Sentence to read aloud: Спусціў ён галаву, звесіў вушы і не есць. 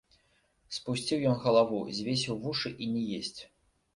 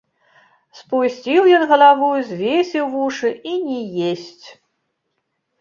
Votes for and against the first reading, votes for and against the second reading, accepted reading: 2, 0, 1, 2, first